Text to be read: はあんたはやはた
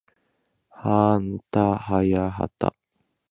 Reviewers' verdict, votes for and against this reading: rejected, 2, 2